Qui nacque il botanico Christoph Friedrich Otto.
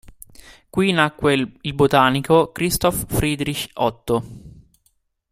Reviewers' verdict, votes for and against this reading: rejected, 1, 2